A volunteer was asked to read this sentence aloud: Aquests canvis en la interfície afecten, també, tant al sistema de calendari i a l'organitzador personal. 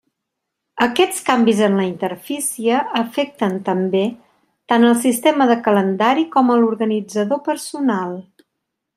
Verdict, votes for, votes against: rejected, 0, 3